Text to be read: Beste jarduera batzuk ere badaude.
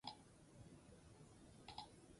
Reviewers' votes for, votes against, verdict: 0, 4, rejected